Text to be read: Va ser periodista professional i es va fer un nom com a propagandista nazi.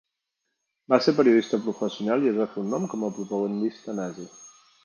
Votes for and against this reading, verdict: 2, 0, accepted